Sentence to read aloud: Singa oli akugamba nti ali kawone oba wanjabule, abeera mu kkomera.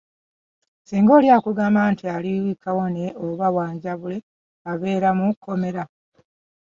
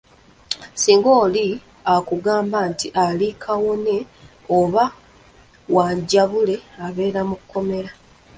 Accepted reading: first